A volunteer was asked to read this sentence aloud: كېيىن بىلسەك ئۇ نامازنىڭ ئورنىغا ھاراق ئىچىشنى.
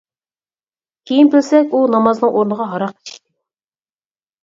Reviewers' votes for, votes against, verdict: 0, 4, rejected